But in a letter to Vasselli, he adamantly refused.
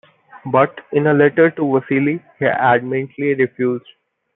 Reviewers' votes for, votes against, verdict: 2, 1, accepted